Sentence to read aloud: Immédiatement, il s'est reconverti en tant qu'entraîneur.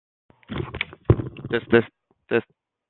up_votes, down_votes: 0, 2